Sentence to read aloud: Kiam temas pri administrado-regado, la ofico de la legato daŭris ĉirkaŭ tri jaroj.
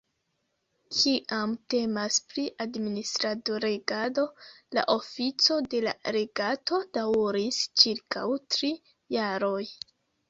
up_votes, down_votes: 2, 0